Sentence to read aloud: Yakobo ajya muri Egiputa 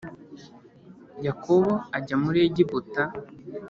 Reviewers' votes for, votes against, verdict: 3, 0, accepted